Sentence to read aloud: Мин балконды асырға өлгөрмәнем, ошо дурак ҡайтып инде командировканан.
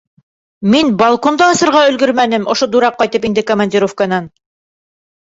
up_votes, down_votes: 2, 0